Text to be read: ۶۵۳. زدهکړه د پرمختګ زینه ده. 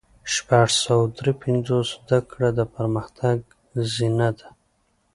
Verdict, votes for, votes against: rejected, 0, 2